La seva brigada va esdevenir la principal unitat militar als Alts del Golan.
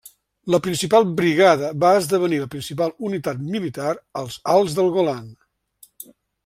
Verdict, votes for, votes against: rejected, 0, 2